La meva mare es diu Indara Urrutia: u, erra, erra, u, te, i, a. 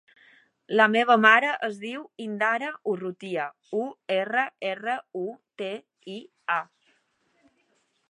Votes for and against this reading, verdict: 4, 1, accepted